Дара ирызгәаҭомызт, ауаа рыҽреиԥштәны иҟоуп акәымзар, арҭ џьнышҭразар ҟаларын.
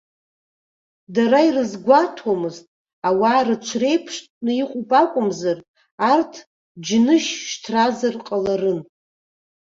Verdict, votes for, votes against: rejected, 0, 2